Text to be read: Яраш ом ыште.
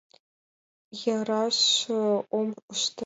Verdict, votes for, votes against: rejected, 1, 2